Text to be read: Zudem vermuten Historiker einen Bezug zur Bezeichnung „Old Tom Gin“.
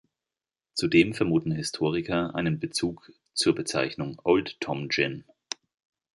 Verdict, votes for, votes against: rejected, 1, 2